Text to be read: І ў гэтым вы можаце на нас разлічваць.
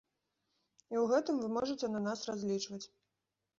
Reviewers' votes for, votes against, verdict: 2, 0, accepted